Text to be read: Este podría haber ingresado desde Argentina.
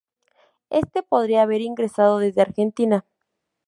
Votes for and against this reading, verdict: 2, 0, accepted